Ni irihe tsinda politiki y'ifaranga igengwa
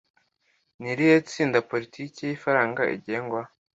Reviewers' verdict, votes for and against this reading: accepted, 2, 0